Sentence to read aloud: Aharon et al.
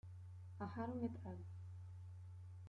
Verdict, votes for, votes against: rejected, 0, 2